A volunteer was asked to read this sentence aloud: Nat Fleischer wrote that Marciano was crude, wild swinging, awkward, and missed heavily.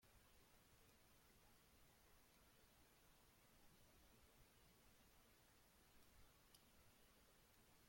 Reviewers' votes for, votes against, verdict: 1, 2, rejected